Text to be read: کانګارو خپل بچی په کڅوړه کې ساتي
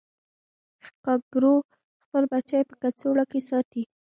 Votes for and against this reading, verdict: 0, 2, rejected